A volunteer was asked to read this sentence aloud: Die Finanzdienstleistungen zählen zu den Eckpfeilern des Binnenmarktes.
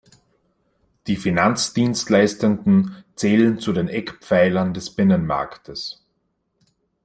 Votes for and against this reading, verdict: 0, 2, rejected